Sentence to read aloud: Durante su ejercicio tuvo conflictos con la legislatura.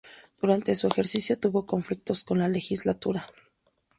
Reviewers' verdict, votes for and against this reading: accepted, 4, 0